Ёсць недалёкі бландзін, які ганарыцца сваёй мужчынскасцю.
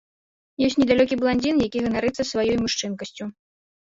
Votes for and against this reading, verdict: 1, 2, rejected